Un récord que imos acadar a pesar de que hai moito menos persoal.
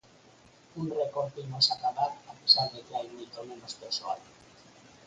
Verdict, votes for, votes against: accepted, 4, 0